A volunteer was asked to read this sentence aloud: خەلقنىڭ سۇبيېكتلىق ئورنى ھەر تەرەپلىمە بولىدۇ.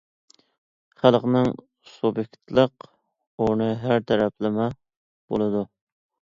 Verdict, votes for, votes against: accepted, 2, 0